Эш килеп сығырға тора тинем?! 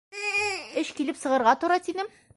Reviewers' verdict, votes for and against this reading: rejected, 1, 2